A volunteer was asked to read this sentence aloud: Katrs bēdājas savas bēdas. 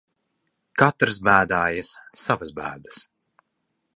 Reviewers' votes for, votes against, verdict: 2, 0, accepted